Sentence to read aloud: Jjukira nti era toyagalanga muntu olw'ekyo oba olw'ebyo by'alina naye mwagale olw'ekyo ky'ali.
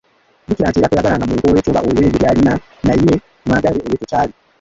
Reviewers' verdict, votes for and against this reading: rejected, 0, 2